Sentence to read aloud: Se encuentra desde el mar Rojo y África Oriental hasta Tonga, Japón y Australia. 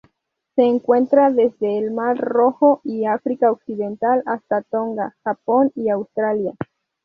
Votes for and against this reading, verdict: 2, 2, rejected